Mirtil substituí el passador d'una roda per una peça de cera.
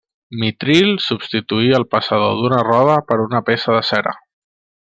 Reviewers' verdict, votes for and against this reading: rejected, 1, 2